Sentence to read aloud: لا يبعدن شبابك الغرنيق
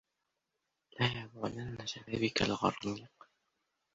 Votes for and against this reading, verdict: 0, 2, rejected